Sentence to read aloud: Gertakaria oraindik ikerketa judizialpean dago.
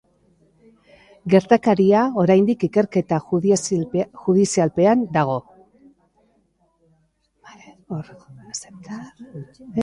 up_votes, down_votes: 0, 2